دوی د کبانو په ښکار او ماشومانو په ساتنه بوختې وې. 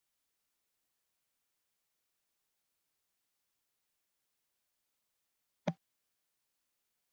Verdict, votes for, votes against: rejected, 0, 2